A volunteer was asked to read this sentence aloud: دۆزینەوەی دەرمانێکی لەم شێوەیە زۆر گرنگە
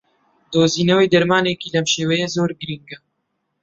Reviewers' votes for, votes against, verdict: 2, 0, accepted